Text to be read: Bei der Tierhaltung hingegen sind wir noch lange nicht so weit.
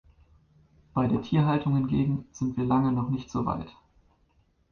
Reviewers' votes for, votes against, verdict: 1, 2, rejected